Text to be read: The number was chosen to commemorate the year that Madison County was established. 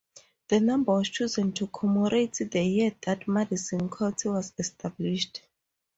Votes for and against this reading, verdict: 0, 4, rejected